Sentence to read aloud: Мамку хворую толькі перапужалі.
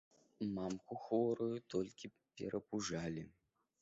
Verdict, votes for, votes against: accepted, 2, 0